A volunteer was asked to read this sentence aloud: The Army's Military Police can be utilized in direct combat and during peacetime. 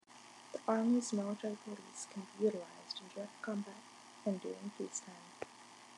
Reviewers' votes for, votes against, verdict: 2, 1, accepted